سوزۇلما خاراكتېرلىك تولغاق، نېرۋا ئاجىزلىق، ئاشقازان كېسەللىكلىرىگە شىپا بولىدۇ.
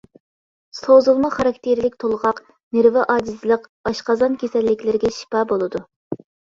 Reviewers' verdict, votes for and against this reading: accepted, 2, 0